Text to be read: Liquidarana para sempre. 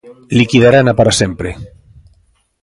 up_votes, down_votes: 3, 0